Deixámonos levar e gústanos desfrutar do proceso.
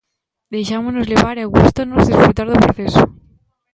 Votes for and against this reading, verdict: 0, 2, rejected